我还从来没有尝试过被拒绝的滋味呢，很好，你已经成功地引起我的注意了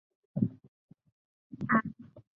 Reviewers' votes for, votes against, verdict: 1, 4, rejected